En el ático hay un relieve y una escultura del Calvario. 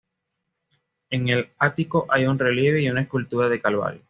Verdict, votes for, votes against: accepted, 2, 0